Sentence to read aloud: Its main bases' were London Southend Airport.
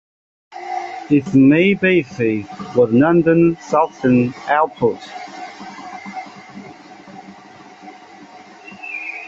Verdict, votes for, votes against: rejected, 0, 2